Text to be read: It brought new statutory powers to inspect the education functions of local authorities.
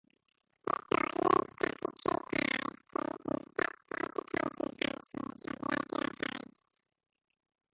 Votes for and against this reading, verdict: 0, 2, rejected